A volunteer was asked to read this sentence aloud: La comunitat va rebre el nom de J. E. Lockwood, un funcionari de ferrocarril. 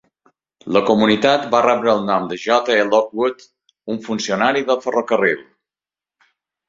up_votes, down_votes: 2, 0